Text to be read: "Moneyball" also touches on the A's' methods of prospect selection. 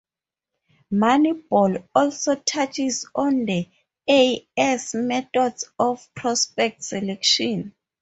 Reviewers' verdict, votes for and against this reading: rejected, 2, 2